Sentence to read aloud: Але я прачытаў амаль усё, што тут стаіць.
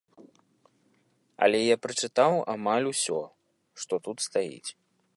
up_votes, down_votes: 2, 0